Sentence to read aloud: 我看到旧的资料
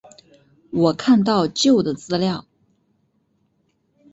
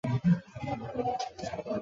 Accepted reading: first